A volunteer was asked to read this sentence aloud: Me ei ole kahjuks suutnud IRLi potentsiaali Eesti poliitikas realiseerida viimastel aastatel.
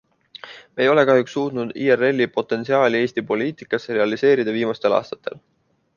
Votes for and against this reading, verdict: 2, 0, accepted